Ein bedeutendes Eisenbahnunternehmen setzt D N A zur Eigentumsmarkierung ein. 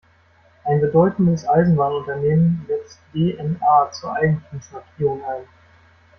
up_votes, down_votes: 1, 2